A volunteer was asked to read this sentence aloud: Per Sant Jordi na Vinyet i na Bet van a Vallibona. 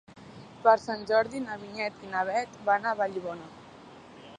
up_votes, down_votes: 3, 1